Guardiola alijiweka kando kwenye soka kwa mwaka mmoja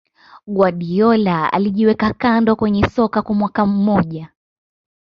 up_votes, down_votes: 2, 0